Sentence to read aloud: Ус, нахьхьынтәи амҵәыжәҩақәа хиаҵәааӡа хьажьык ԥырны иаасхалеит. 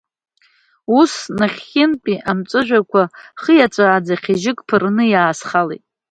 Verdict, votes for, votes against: accepted, 2, 0